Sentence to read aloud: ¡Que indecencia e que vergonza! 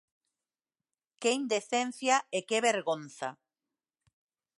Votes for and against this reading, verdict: 2, 0, accepted